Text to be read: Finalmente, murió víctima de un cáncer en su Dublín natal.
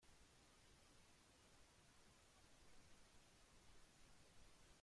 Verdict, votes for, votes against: rejected, 0, 3